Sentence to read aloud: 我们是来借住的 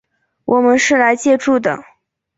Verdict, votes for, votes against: accepted, 2, 0